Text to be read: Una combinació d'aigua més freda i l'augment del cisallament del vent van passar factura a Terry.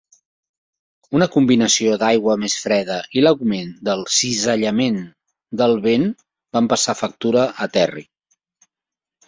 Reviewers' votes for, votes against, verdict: 2, 0, accepted